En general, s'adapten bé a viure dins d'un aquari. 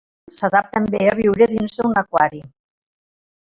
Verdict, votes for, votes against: rejected, 0, 2